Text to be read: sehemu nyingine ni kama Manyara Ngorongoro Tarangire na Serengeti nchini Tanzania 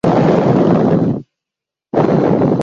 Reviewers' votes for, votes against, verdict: 0, 2, rejected